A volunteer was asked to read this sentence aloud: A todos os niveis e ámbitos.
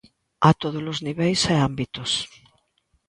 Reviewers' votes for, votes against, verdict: 2, 0, accepted